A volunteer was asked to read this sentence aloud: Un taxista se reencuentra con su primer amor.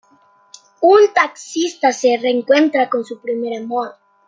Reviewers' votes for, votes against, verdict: 2, 0, accepted